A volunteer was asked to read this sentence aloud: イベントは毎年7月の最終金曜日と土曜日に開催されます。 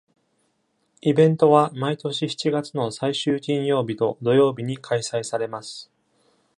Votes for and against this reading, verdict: 0, 2, rejected